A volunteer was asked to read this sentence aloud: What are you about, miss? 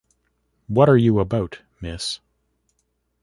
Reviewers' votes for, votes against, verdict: 1, 2, rejected